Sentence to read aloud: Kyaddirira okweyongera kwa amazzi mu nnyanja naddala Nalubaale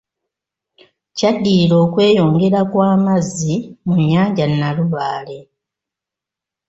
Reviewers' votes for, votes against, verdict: 1, 2, rejected